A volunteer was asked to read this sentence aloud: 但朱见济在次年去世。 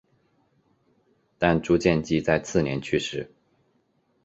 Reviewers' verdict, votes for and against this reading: accepted, 9, 0